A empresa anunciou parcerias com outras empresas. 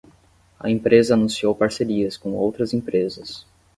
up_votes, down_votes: 10, 0